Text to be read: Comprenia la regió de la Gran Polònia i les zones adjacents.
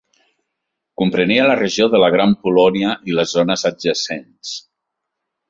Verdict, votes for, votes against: accepted, 3, 0